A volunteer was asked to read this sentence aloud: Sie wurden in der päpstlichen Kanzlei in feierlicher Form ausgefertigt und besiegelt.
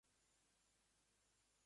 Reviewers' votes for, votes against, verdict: 0, 2, rejected